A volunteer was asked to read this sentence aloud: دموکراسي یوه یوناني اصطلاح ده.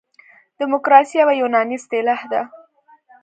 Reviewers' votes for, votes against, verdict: 1, 2, rejected